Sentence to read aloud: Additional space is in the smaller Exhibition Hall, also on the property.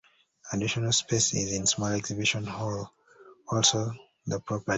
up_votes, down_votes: 0, 2